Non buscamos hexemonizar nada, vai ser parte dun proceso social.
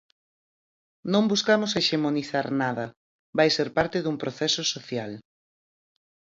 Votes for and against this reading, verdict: 4, 0, accepted